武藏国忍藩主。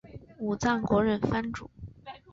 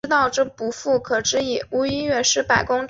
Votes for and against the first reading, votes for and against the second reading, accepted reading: 5, 0, 3, 3, first